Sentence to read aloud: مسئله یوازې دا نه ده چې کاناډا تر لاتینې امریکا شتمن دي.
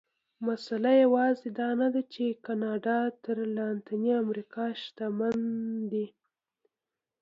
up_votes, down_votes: 1, 2